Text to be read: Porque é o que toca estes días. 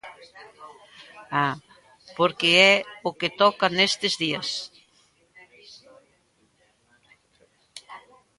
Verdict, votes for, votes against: rejected, 1, 2